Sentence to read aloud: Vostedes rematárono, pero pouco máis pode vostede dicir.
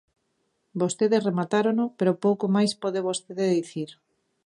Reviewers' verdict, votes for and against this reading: rejected, 0, 2